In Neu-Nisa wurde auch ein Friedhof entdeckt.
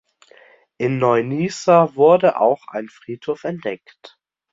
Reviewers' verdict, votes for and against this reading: accepted, 2, 0